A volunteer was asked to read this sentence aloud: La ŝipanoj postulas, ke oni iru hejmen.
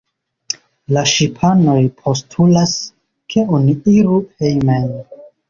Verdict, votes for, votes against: rejected, 0, 2